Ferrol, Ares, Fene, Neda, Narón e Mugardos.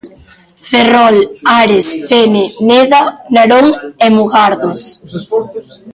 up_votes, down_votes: 1, 2